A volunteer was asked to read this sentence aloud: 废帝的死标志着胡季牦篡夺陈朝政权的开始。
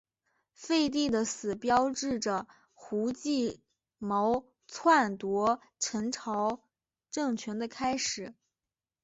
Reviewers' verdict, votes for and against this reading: accepted, 3, 2